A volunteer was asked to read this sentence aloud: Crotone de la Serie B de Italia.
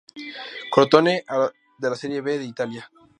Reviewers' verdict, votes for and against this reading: rejected, 2, 2